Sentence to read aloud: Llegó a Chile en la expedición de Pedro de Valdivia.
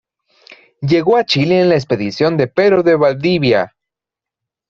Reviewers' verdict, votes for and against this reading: accepted, 2, 0